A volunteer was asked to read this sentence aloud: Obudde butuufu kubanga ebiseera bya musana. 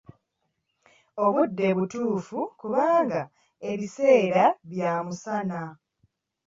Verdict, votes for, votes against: accepted, 2, 0